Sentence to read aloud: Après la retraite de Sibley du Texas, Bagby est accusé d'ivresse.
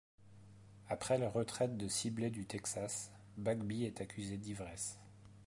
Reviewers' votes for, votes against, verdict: 2, 0, accepted